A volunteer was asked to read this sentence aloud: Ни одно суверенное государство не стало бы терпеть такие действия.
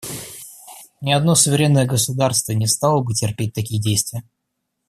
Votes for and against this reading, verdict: 2, 0, accepted